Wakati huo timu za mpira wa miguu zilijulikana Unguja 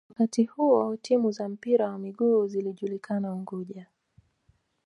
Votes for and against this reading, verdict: 2, 0, accepted